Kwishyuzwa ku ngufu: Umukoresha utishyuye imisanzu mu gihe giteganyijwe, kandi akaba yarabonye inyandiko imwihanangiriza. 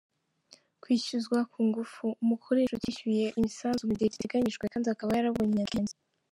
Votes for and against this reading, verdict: 0, 2, rejected